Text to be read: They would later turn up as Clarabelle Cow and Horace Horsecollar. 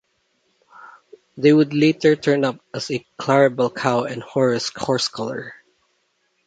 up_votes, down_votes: 0, 2